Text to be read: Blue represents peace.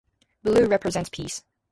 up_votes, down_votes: 2, 0